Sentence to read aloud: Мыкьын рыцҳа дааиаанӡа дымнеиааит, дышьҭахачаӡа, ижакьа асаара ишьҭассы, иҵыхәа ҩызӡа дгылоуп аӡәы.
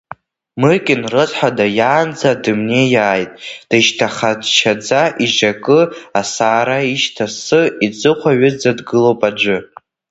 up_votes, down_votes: 0, 2